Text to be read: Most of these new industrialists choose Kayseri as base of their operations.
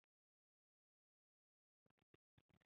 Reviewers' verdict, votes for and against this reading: rejected, 0, 3